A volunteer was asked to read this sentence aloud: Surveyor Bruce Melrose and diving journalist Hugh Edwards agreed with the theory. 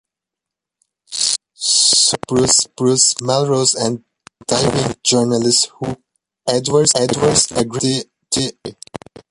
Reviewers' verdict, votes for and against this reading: rejected, 0, 2